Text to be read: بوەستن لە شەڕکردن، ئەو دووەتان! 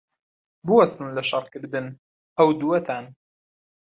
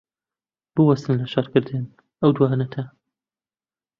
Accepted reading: first